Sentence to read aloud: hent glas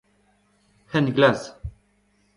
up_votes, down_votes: 2, 1